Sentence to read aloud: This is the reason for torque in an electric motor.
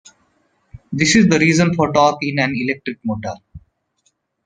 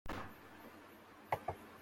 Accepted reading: first